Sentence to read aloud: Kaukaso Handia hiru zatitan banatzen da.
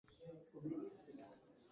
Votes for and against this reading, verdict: 0, 2, rejected